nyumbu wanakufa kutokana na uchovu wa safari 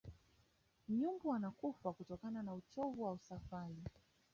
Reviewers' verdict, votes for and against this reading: rejected, 1, 2